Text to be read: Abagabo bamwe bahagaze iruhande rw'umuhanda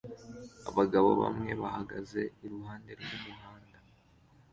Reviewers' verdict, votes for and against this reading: accepted, 3, 0